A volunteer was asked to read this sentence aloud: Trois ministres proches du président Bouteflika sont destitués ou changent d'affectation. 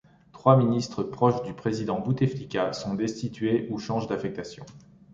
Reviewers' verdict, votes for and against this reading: accepted, 3, 0